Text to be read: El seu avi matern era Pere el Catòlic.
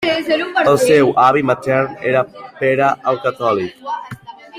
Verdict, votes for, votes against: accepted, 3, 1